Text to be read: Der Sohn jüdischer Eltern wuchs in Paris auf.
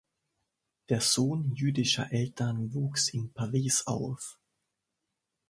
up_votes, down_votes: 2, 0